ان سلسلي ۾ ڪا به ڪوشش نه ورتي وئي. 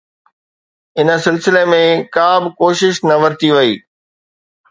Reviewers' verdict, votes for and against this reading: accepted, 2, 0